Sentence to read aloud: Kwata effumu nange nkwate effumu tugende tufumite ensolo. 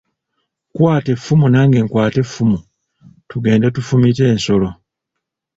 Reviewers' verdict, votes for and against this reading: accepted, 2, 0